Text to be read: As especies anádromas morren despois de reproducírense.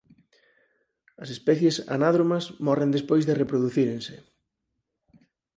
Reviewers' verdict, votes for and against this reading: accepted, 4, 2